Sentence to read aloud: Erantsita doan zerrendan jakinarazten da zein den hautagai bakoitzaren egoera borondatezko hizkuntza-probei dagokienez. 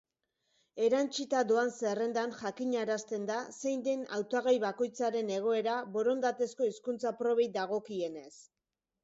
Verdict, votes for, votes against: accepted, 3, 0